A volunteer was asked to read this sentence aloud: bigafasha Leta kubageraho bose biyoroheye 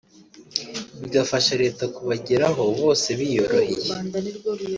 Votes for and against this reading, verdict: 1, 2, rejected